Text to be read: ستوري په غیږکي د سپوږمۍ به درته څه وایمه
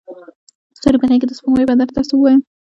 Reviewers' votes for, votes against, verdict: 0, 2, rejected